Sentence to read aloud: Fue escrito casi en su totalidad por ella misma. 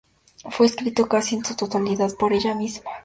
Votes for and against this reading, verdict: 4, 0, accepted